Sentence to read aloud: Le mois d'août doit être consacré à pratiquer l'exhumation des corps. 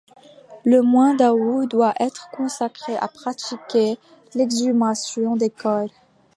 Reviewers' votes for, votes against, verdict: 1, 2, rejected